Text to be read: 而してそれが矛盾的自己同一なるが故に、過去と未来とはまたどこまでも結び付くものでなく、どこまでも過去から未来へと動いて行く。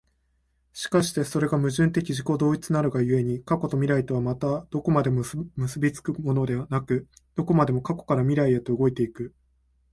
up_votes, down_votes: 2, 1